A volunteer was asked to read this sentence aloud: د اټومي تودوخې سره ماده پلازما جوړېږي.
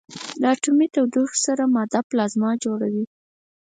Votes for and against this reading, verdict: 2, 4, rejected